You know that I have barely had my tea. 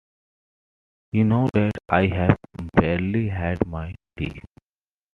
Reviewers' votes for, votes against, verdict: 2, 1, accepted